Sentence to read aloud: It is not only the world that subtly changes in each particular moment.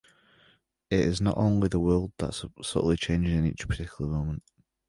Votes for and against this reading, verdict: 1, 2, rejected